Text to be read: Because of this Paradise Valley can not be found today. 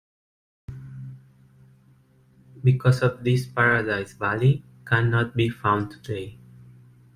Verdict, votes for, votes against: accepted, 2, 0